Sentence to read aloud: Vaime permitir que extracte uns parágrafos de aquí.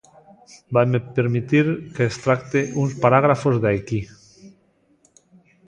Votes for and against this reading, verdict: 0, 2, rejected